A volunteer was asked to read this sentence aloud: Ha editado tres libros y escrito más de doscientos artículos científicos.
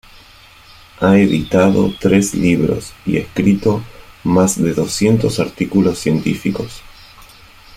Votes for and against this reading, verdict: 1, 2, rejected